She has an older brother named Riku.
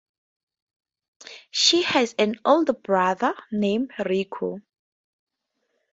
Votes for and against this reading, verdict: 2, 0, accepted